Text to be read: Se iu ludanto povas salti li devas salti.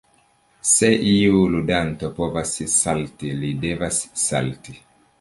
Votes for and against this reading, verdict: 2, 0, accepted